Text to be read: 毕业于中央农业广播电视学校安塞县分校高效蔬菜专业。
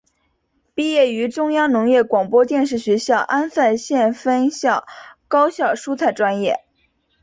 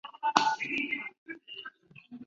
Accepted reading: first